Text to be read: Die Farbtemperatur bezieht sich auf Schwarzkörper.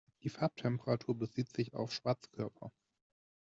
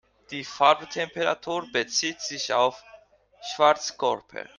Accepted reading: first